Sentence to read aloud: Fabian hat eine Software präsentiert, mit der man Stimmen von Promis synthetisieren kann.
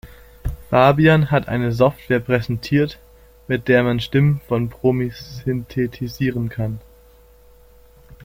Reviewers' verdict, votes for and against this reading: rejected, 1, 2